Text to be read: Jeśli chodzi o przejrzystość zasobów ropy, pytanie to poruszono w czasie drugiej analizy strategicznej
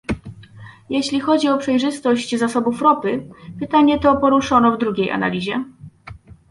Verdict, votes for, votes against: rejected, 0, 2